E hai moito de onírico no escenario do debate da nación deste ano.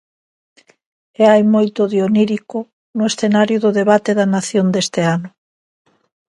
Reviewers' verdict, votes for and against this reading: accepted, 2, 1